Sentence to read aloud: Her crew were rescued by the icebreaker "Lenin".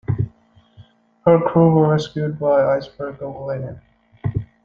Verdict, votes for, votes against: accepted, 2, 0